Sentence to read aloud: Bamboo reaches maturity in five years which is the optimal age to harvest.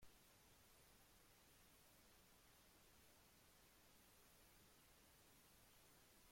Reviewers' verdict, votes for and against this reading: rejected, 0, 2